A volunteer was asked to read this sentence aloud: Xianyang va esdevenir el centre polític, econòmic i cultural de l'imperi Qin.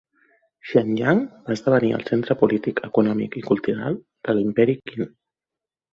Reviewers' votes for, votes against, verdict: 2, 0, accepted